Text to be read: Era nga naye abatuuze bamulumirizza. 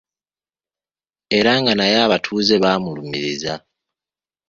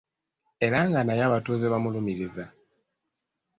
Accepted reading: second